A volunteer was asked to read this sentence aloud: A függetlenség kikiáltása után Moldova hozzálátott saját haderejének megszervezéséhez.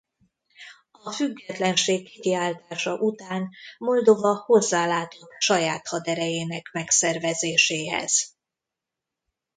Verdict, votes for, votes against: rejected, 0, 2